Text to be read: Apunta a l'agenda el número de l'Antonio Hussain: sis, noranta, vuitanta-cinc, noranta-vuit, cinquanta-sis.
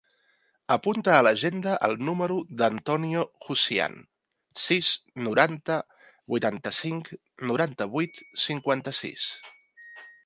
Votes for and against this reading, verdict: 1, 2, rejected